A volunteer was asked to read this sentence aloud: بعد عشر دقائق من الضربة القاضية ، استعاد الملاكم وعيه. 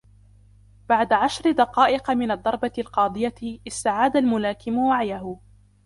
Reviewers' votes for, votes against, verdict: 3, 1, accepted